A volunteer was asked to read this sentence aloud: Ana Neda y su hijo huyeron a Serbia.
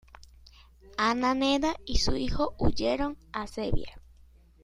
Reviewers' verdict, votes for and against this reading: accepted, 2, 1